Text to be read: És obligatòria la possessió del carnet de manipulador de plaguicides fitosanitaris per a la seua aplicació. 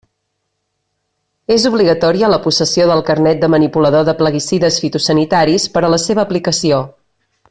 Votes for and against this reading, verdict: 1, 2, rejected